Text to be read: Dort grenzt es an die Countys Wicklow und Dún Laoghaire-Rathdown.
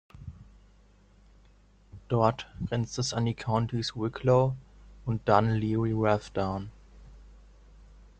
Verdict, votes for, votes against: accepted, 2, 0